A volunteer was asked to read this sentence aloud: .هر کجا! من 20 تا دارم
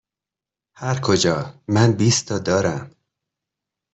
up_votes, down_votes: 0, 2